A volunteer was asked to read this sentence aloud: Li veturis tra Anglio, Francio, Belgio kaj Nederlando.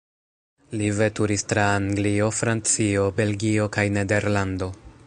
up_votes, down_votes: 3, 1